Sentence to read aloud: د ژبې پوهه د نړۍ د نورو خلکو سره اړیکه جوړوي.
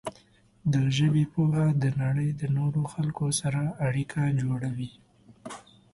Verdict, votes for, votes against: accepted, 2, 0